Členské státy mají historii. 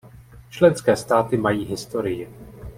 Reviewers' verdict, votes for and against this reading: accepted, 2, 0